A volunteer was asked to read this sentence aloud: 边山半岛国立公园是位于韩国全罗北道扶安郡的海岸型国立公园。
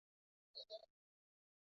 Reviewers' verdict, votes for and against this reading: rejected, 0, 3